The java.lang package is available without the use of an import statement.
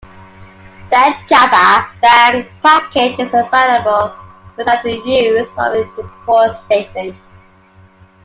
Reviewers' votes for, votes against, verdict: 0, 2, rejected